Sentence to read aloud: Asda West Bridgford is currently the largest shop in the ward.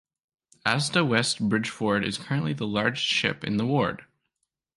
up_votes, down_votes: 1, 2